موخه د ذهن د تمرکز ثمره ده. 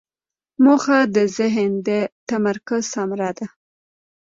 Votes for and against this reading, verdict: 2, 0, accepted